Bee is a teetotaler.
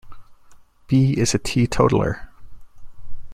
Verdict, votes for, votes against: accepted, 2, 0